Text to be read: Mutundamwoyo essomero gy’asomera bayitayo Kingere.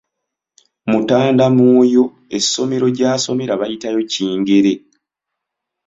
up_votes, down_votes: 0, 2